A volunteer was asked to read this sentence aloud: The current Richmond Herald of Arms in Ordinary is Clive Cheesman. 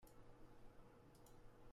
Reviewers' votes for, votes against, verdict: 0, 2, rejected